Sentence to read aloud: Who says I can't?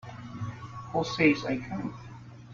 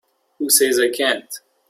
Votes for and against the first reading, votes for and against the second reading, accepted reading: 1, 2, 3, 0, second